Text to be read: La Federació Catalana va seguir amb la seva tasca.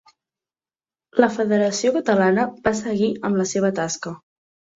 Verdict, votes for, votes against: accepted, 2, 0